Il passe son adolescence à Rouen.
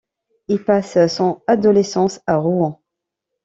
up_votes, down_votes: 1, 2